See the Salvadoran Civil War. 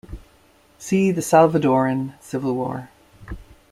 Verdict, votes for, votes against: accepted, 2, 0